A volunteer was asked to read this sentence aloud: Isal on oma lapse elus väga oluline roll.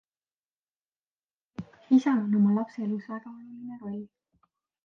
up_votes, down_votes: 2, 0